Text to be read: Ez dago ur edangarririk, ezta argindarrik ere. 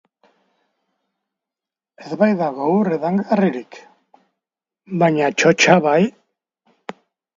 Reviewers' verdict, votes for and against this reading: rejected, 0, 2